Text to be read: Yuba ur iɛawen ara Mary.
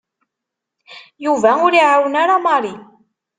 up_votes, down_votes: 2, 0